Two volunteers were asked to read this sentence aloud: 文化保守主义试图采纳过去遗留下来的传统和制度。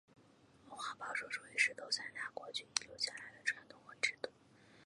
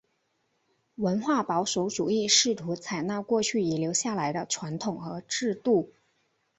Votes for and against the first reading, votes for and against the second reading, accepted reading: 1, 3, 2, 1, second